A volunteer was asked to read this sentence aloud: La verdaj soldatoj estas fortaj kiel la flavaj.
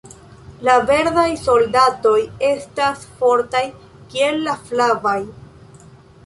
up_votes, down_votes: 2, 0